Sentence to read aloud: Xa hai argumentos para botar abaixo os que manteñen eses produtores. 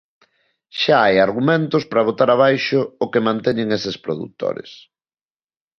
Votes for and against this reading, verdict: 0, 2, rejected